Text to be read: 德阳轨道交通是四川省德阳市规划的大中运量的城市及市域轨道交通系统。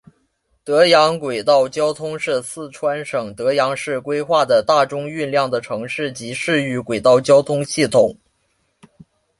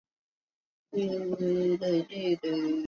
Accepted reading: first